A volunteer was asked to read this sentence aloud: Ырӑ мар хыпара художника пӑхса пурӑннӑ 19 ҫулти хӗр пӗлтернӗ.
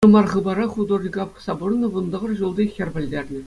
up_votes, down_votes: 0, 2